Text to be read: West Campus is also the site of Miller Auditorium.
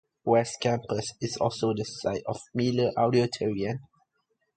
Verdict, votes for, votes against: rejected, 1, 2